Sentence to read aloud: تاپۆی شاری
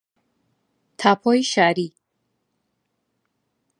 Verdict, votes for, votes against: accepted, 2, 0